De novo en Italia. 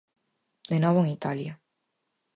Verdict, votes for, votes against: accepted, 4, 0